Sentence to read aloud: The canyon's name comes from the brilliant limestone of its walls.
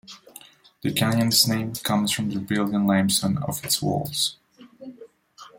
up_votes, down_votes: 1, 2